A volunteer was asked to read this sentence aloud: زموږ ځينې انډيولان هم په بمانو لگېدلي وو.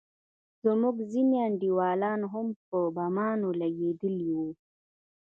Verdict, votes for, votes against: rejected, 1, 2